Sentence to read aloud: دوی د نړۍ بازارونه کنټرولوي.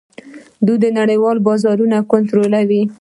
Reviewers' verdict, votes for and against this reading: rejected, 1, 2